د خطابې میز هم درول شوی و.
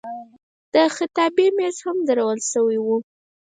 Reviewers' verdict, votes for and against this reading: rejected, 2, 4